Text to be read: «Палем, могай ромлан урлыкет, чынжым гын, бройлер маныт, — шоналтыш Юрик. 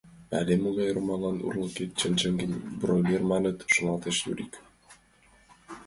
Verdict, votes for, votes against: rejected, 0, 2